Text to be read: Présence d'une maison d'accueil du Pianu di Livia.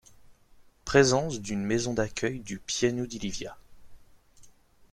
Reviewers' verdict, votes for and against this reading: accepted, 2, 1